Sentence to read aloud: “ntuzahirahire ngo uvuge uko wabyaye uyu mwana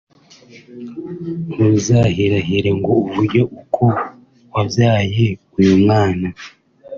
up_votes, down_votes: 1, 2